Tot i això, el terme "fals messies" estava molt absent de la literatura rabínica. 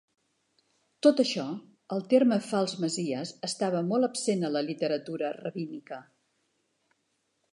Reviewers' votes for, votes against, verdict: 1, 2, rejected